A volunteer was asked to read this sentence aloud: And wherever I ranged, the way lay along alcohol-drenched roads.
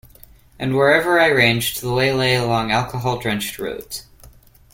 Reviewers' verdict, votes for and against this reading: rejected, 0, 2